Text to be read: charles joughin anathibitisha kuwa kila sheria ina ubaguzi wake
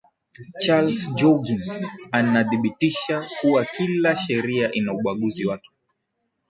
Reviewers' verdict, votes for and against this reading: accepted, 9, 3